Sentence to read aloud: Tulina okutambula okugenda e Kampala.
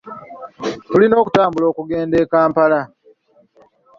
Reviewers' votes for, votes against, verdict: 2, 0, accepted